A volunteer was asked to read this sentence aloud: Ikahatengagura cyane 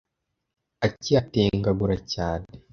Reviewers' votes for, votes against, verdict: 0, 2, rejected